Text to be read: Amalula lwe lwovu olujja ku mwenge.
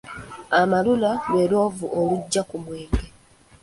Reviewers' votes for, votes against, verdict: 2, 0, accepted